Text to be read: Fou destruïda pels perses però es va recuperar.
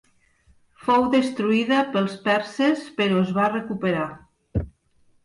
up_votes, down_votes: 3, 0